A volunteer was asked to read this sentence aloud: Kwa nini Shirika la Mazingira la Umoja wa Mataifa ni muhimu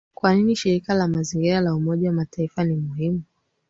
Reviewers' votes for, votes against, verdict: 3, 1, accepted